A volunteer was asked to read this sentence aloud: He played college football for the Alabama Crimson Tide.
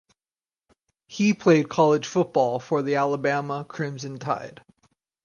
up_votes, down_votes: 4, 0